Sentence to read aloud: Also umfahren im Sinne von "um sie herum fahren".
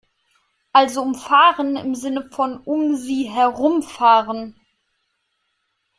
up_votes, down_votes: 2, 0